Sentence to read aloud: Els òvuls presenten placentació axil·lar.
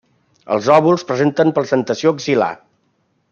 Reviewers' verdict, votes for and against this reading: accepted, 2, 0